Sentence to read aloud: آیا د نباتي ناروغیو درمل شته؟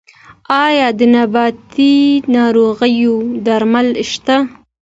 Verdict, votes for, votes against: accepted, 2, 0